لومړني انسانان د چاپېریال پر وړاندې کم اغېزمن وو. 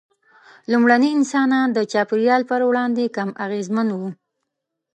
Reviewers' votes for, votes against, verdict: 2, 0, accepted